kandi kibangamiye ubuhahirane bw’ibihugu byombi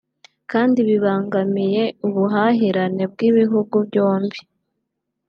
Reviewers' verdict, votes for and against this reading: rejected, 0, 2